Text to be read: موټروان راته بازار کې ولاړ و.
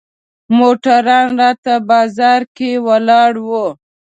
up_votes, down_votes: 2, 0